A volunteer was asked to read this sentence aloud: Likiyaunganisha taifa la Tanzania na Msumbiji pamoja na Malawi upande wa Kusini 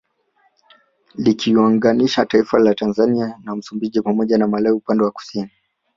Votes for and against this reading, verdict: 3, 0, accepted